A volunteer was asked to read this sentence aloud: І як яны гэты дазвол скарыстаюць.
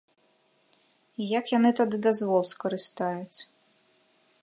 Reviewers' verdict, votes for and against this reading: rejected, 1, 2